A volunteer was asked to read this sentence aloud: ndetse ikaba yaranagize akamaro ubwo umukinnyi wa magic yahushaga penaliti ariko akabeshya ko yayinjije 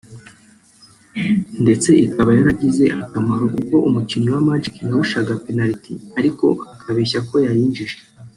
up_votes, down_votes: 1, 2